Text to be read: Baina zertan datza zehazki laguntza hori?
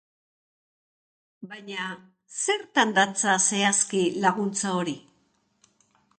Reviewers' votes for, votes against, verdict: 2, 0, accepted